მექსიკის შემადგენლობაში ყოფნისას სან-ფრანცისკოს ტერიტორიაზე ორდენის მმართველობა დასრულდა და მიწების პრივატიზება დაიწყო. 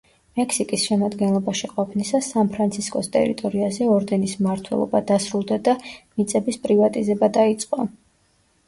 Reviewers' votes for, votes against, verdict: 2, 0, accepted